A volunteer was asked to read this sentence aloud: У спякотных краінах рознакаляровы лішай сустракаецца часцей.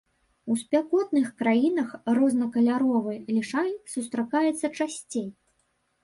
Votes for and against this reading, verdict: 3, 0, accepted